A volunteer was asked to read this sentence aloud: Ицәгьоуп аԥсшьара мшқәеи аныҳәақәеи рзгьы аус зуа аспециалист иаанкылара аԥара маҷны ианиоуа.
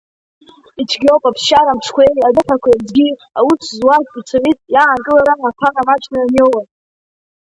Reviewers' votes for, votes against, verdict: 1, 3, rejected